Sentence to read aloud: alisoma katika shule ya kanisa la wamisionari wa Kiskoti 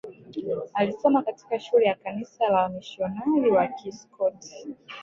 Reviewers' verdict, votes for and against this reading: rejected, 0, 2